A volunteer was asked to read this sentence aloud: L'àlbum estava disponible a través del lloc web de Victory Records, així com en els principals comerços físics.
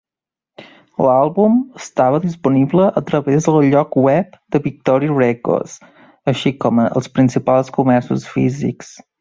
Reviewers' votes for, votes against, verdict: 1, 2, rejected